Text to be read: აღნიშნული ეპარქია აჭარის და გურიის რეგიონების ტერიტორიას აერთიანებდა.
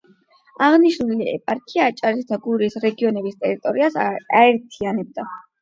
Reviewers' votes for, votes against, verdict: 4, 8, rejected